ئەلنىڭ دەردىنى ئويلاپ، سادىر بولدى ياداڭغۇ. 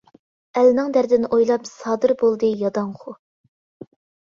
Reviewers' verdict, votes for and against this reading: accepted, 2, 0